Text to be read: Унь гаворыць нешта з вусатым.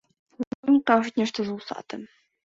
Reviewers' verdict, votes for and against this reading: rejected, 0, 2